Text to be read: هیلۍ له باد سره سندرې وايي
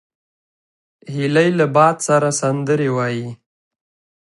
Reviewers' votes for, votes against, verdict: 3, 1, accepted